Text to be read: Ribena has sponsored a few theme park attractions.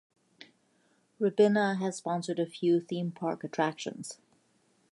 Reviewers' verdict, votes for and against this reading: accepted, 2, 0